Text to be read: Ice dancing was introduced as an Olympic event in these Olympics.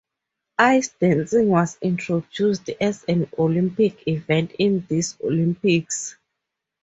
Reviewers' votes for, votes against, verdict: 4, 0, accepted